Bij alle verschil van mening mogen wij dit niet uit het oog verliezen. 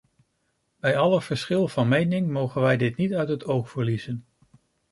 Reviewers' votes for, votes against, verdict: 2, 0, accepted